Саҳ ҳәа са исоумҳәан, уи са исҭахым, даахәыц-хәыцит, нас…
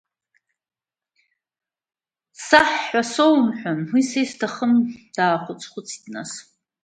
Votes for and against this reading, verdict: 2, 0, accepted